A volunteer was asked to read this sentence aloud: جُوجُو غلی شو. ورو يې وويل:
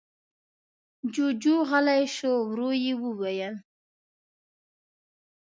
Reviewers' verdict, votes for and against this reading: accepted, 2, 0